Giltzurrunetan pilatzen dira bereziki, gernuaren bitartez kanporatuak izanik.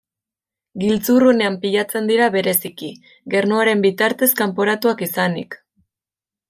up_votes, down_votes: 0, 2